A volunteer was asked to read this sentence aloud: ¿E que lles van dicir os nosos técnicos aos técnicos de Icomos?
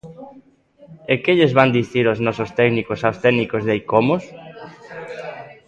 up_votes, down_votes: 1, 2